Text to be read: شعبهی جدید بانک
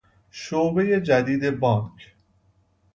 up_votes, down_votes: 2, 0